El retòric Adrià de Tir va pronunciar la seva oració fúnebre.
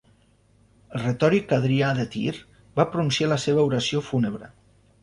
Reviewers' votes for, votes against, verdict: 0, 2, rejected